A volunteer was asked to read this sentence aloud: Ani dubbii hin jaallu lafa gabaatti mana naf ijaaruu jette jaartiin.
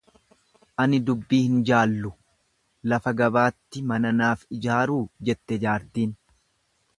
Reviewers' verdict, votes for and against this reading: accepted, 2, 0